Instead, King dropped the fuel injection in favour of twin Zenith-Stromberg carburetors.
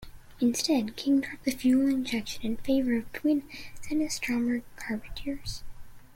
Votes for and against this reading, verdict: 0, 2, rejected